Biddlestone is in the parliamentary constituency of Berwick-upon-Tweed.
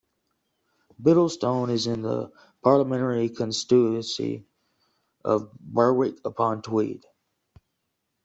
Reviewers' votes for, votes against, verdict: 2, 0, accepted